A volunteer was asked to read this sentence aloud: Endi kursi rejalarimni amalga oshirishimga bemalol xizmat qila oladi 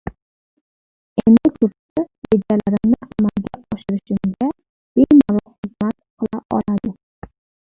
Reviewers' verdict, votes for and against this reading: rejected, 0, 2